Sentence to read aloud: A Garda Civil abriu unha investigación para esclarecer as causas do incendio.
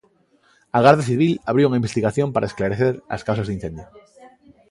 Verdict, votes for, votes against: accepted, 2, 0